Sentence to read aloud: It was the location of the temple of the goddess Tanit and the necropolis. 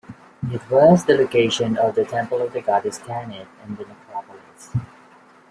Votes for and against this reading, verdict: 1, 2, rejected